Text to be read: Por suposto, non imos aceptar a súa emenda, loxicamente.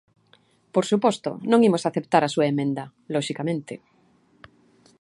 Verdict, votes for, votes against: accepted, 2, 0